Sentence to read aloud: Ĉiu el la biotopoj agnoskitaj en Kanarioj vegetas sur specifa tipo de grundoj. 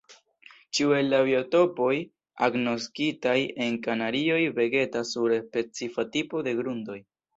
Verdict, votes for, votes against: accepted, 2, 0